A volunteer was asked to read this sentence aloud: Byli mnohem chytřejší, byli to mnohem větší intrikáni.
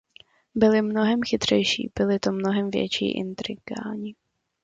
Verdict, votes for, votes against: accepted, 2, 0